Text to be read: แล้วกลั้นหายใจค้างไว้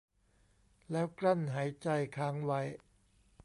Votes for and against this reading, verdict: 2, 0, accepted